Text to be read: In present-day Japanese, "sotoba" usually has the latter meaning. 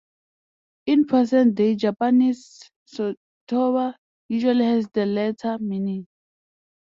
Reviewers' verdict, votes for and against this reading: rejected, 0, 2